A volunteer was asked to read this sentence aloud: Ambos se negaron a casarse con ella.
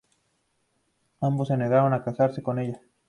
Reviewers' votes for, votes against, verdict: 2, 0, accepted